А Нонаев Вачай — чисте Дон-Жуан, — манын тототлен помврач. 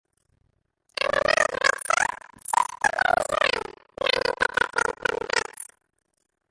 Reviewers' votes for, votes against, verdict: 0, 2, rejected